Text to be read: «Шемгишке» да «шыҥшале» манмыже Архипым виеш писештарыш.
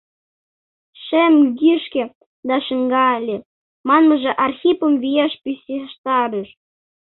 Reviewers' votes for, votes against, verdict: 0, 2, rejected